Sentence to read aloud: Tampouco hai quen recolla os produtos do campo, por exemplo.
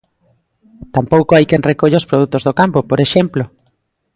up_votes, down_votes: 2, 0